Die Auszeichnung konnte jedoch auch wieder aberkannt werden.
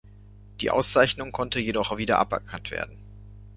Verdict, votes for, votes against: rejected, 1, 2